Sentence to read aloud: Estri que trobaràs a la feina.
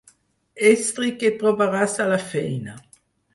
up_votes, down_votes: 4, 2